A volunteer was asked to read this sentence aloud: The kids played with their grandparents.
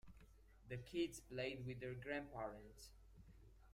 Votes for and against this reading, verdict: 1, 2, rejected